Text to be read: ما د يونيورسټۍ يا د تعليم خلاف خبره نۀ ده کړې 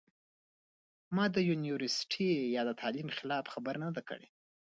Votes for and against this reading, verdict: 1, 2, rejected